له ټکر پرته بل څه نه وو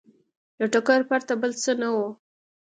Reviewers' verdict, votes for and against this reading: accepted, 2, 0